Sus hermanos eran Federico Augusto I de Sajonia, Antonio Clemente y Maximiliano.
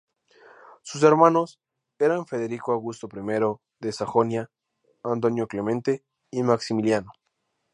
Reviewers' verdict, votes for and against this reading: rejected, 0, 2